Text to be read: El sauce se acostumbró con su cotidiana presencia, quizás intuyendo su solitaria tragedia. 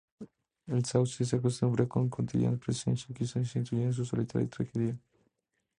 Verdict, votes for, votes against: rejected, 0, 2